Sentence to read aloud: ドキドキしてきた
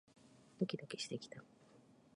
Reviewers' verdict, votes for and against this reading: rejected, 1, 2